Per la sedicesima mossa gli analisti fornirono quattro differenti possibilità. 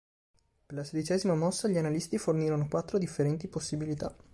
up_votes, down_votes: 2, 0